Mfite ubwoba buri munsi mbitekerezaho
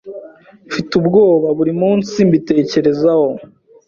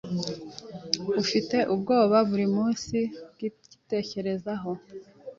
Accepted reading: first